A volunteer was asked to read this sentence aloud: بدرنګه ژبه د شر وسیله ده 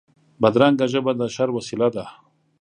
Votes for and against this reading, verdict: 3, 0, accepted